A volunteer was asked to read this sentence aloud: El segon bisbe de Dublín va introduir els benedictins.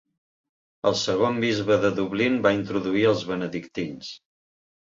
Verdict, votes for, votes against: accepted, 3, 0